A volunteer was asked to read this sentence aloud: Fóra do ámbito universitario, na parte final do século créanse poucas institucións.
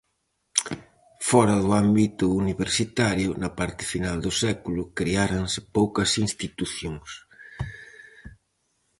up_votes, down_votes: 0, 4